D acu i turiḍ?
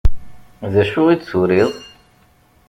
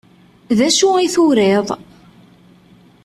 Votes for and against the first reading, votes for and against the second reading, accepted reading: 0, 2, 2, 0, second